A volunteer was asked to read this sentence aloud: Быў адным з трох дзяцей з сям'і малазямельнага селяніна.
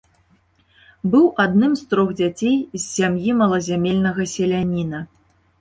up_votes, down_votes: 3, 0